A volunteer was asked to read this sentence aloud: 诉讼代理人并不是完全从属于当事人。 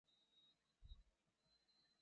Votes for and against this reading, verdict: 0, 3, rejected